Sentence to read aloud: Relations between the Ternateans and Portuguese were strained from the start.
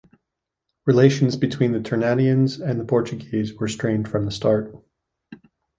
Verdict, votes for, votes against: rejected, 1, 2